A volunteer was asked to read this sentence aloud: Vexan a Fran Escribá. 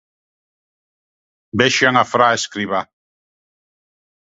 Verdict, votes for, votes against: rejected, 1, 2